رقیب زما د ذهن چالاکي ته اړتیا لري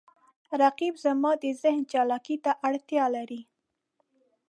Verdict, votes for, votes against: accepted, 2, 0